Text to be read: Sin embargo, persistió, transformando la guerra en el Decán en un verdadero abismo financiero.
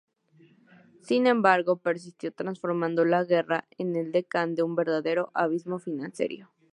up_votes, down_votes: 0, 2